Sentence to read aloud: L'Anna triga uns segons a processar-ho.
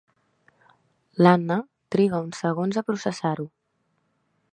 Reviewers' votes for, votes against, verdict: 3, 0, accepted